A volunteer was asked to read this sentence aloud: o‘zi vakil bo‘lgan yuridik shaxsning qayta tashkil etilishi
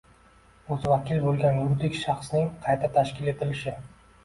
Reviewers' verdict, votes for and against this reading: accepted, 2, 1